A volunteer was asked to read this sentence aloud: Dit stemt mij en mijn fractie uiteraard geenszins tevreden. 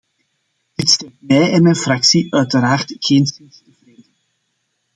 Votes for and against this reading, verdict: 0, 2, rejected